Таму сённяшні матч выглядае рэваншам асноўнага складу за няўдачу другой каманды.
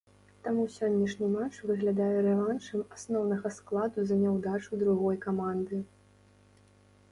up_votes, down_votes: 2, 0